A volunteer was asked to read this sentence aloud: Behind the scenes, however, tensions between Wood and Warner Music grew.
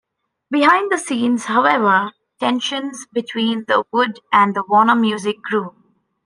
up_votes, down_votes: 0, 2